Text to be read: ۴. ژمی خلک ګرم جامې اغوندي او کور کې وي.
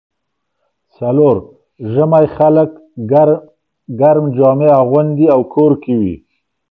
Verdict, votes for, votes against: rejected, 0, 2